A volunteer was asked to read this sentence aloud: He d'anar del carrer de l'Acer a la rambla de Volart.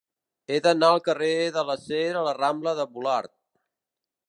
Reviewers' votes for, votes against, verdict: 0, 2, rejected